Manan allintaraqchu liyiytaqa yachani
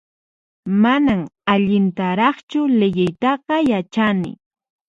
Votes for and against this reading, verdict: 4, 0, accepted